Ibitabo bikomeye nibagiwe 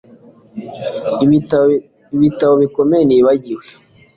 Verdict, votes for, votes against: accepted, 2, 0